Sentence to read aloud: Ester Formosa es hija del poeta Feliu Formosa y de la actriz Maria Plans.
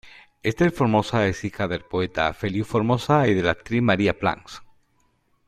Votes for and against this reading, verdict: 2, 0, accepted